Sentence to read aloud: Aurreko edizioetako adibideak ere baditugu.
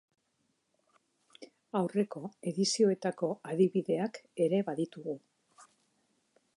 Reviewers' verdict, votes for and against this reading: accepted, 2, 1